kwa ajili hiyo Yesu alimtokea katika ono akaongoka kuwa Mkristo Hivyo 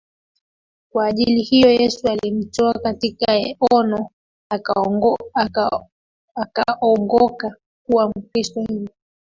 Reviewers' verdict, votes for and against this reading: rejected, 0, 2